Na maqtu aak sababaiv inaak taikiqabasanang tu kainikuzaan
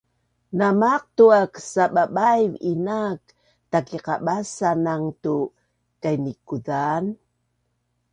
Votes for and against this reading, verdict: 2, 0, accepted